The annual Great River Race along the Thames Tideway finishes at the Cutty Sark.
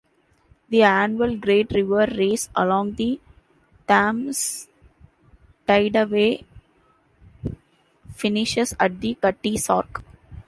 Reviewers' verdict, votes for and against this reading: rejected, 0, 2